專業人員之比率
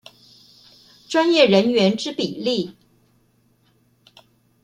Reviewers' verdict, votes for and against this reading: rejected, 0, 2